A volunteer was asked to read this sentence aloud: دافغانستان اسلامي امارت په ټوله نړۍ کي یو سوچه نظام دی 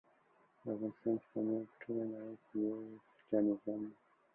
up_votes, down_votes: 1, 2